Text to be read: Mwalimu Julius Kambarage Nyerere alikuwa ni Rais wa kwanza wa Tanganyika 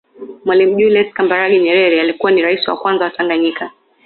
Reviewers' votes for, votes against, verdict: 2, 0, accepted